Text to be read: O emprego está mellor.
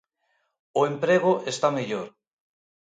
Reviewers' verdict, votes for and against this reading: accepted, 2, 0